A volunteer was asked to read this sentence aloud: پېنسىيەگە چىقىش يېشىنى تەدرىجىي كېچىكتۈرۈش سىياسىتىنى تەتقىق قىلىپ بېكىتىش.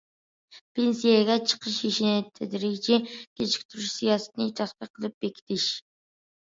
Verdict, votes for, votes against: accepted, 2, 0